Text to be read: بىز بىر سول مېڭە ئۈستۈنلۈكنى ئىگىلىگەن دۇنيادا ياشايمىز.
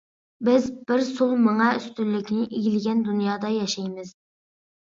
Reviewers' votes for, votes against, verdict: 2, 0, accepted